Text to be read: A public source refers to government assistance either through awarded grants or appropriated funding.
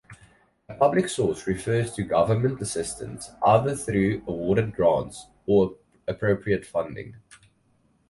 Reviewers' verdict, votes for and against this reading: rejected, 2, 2